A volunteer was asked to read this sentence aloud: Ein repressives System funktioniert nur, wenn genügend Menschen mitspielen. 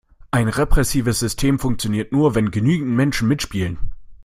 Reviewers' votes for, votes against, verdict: 2, 0, accepted